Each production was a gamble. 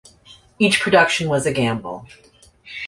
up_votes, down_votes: 2, 0